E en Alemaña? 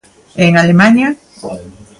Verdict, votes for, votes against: accepted, 2, 0